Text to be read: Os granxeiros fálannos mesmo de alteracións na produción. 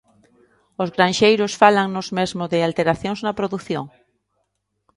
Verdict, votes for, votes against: accepted, 3, 0